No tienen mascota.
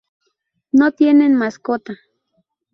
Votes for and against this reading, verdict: 2, 2, rejected